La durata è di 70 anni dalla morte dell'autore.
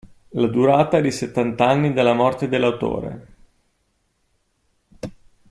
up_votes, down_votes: 0, 2